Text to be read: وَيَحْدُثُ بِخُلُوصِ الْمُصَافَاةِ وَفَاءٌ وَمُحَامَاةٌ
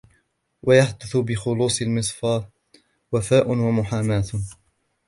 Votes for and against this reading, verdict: 2, 3, rejected